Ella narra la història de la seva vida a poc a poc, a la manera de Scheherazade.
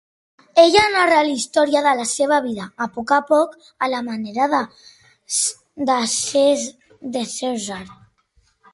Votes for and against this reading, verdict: 1, 2, rejected